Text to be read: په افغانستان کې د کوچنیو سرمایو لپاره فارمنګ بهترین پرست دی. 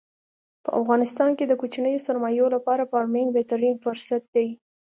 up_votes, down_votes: 2, 0